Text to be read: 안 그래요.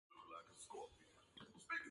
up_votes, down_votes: 0, 2